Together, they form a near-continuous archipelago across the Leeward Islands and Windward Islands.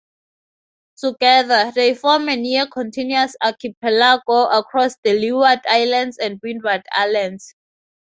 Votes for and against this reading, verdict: 2, 2, rejected